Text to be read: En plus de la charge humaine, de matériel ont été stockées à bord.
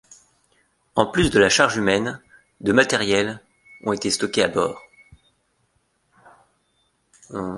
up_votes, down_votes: 0, 2